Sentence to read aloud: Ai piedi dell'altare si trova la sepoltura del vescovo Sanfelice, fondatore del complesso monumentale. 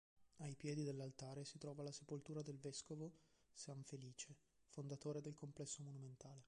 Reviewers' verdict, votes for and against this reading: rejected, 1, 2